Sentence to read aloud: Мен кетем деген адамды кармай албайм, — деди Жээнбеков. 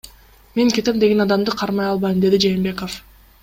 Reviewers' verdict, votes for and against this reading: accepted, 2, 0